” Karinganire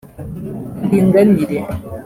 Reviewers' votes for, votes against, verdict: 1, 2, rejected